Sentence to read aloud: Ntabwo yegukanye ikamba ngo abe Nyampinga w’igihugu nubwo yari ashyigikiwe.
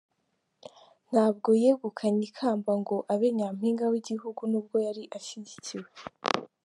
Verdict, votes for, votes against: accepted, 2, 0